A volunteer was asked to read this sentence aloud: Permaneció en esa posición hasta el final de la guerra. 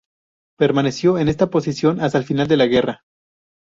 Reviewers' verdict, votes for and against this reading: rejected, 0, 4